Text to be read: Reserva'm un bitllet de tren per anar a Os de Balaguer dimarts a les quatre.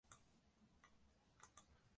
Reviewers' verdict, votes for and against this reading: rejected, 1, 3